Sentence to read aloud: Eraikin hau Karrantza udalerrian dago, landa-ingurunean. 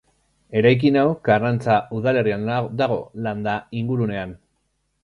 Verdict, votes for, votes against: rejected, 1, 2